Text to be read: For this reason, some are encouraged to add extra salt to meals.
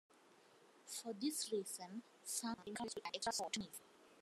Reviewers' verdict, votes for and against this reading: rejected, 1, 2